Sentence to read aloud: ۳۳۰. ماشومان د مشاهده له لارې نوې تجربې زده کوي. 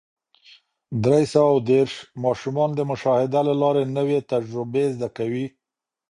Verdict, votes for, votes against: rejected, 0, 2